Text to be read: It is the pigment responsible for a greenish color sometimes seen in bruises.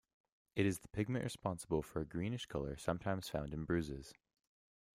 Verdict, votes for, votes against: rejected, 1, 2